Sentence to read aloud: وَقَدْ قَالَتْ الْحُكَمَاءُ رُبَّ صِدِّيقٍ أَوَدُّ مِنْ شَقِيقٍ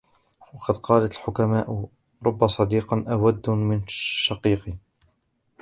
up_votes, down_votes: 1, 2